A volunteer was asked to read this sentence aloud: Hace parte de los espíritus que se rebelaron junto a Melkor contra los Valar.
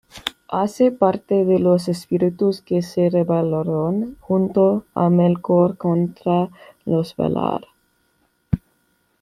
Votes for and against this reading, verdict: 1, 2, rejected